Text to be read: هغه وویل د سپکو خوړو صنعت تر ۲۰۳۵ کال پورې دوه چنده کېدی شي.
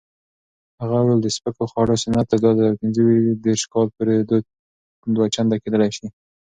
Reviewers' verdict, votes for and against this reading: rejected, 0, 2